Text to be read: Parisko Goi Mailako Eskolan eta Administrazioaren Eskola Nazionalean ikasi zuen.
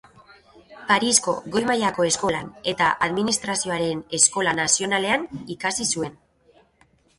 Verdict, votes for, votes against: rejected, 1, 2